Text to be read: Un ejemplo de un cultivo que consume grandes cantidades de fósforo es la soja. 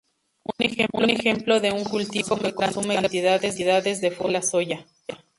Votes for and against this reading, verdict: 0, 2, rejected